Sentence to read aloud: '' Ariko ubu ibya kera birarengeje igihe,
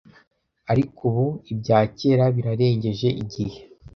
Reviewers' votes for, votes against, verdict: 2, 0, accepted